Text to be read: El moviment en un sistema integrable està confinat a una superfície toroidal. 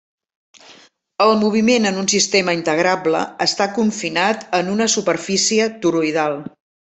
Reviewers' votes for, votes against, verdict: 0, 2, rejected